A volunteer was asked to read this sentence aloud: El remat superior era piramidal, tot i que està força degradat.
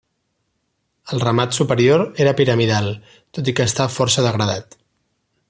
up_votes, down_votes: 2, 0